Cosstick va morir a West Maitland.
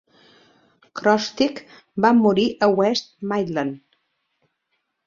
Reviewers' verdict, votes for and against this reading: rejected, 0, 2